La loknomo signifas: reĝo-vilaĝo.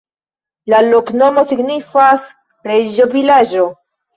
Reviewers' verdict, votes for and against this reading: accepted, 2, 0